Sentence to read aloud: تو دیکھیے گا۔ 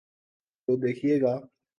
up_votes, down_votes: 0, 2